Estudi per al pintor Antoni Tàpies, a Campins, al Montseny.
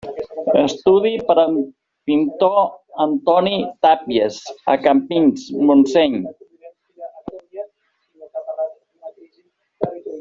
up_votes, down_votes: 0, 2